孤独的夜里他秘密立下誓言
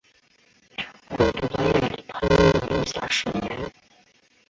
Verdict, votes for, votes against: rejected, 0, 2